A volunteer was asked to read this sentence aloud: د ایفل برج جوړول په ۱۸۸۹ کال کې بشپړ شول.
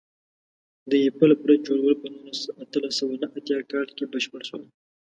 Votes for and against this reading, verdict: 0, 2, rejected